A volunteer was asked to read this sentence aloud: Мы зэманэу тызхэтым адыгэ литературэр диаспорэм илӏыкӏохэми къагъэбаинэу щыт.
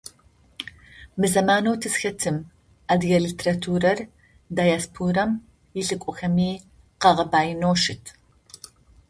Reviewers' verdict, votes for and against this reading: accepted, 2, 0